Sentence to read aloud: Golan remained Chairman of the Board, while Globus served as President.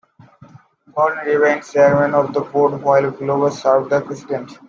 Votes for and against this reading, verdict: 2, 1, accepted